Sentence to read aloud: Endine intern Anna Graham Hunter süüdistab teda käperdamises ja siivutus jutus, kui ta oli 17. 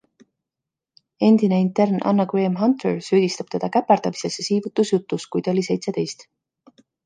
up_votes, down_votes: 0, 2